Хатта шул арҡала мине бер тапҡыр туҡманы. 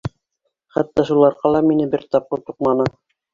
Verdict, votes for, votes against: accepted, 2, 1